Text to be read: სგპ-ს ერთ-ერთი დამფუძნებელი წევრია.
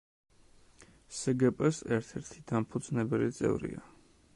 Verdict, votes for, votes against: rejected, 1, 2